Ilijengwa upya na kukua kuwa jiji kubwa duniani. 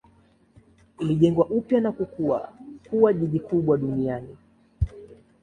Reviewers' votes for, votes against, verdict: 2, 1, accepted